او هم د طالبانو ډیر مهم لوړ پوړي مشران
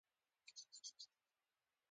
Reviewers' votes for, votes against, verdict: 1, 2, rejected